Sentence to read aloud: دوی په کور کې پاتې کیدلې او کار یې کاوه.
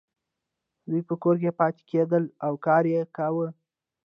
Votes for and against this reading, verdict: 2, 0, accepted